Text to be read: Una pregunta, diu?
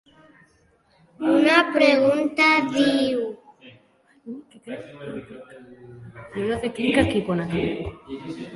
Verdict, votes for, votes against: rejected, 1, 2